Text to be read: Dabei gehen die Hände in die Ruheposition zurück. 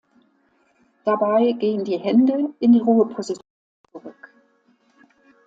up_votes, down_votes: 0, 2